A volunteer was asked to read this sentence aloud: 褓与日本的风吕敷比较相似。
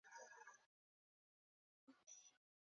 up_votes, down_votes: 1, 2